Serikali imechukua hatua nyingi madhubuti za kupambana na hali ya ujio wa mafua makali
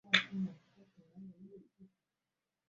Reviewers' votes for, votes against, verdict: 0, 2, rejected